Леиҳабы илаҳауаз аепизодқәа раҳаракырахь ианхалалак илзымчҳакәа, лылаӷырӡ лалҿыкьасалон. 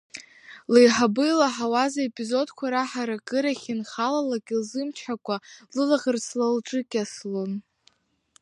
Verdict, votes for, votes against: rejected, 1, 2